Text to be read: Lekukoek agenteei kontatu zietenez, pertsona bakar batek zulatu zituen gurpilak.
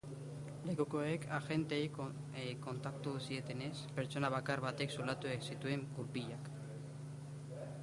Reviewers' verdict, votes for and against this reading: rejected, 0, 2